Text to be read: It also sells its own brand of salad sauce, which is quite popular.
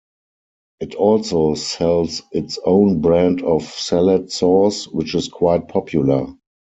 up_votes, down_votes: 4, 0